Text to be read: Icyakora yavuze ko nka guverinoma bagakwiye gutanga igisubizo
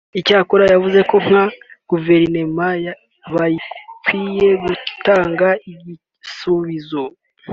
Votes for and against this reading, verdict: 0, 2, rejected